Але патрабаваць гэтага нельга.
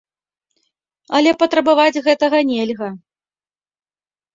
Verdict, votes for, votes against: accepted, 3, 0